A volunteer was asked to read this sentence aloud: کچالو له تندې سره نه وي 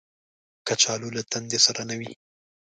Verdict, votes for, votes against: accepted, 2, 0